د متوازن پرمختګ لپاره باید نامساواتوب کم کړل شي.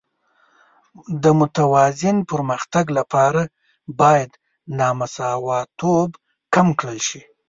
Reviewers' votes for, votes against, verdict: 2, 1, accepted